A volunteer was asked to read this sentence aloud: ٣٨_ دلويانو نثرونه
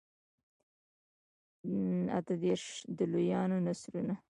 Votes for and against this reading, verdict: 0, 2, rejected